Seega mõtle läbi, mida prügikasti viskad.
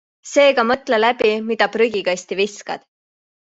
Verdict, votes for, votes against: accepted, 2, 0